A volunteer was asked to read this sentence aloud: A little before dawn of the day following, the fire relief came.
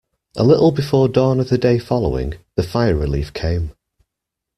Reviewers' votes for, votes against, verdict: 2, 0, accepted